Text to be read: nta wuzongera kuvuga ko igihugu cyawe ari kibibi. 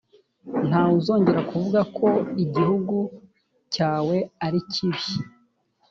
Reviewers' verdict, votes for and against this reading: rejected, 1, 2